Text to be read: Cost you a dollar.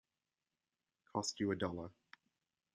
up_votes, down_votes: 2, 0